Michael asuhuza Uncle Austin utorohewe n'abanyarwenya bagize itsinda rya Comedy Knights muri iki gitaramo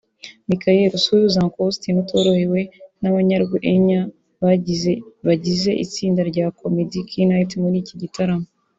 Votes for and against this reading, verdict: 1, 3, rejected